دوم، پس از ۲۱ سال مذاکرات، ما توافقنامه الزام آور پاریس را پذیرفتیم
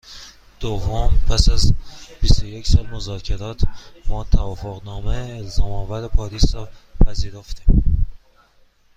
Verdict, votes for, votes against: rejected, 0, 2